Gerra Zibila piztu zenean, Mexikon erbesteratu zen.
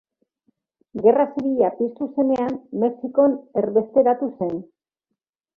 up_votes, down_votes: 2, 0